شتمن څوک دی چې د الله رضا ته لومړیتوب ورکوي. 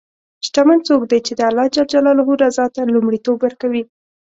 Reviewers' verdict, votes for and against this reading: accepted, 2, 0